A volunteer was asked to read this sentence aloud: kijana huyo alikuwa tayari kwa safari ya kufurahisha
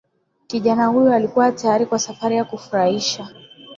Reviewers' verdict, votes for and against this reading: accepted, 2, 1